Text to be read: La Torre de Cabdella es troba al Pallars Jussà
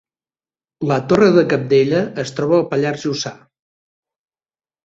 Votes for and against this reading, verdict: 2, 0, accepted